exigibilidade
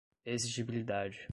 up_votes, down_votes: 2, 0